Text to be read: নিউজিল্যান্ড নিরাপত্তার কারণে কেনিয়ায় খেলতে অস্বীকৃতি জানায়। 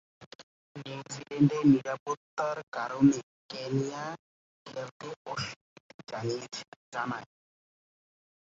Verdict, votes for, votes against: rejected, 1, 10